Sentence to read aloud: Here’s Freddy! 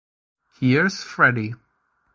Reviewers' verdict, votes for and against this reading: accepted, 2, 0